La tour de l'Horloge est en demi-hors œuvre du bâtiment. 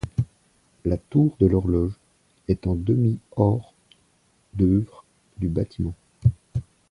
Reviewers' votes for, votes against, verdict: 1, 2, rejected